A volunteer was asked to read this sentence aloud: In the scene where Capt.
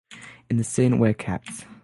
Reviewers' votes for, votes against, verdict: 3, 3, rejected